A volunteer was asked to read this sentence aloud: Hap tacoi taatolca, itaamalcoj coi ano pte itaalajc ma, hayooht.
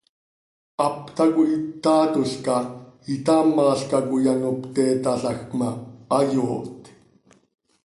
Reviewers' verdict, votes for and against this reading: rejected, 1, 2